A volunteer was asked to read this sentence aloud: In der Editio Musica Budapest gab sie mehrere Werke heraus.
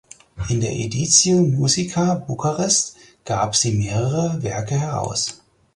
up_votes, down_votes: 0, 4